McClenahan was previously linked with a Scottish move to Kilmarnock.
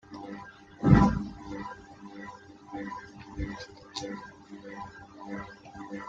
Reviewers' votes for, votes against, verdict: 0, 2, rejected